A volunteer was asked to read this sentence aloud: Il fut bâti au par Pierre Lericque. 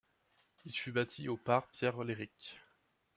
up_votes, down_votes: 0, 2